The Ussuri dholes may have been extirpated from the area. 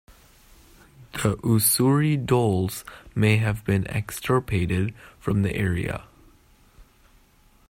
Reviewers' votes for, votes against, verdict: 1, 2, rejected